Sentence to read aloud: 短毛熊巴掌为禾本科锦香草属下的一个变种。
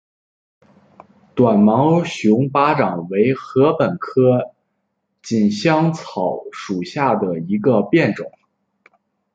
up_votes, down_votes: 2, 0